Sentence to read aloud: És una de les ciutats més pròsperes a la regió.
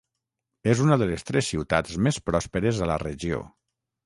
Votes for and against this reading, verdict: 3, 3, rejected